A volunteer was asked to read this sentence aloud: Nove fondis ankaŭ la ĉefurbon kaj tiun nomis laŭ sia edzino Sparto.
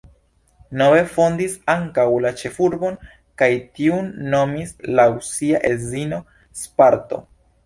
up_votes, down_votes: 2, 0